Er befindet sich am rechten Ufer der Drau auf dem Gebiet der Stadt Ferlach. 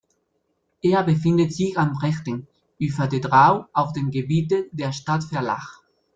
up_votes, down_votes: 0, 2